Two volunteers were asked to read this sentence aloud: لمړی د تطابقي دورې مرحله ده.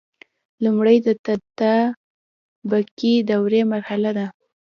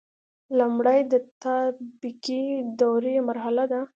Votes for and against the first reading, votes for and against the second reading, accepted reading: 1, 2, 2, 0, second